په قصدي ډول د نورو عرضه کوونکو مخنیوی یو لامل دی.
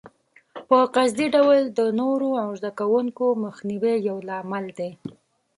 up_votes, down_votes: 1, 2